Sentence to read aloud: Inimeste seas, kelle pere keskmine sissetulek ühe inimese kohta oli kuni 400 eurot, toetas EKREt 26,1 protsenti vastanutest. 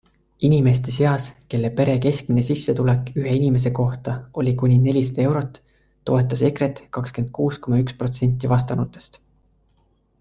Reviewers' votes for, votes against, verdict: 0, 2, rejected